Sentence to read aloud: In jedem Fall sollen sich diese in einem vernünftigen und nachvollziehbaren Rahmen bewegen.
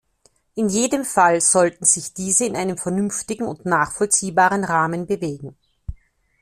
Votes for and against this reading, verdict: 0, 2, rejected